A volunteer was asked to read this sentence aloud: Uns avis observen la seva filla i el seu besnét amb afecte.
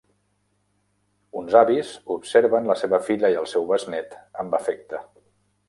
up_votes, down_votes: 2, 0